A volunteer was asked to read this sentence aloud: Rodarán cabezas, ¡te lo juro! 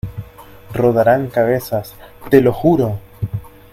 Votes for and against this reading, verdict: 2, 0, accepted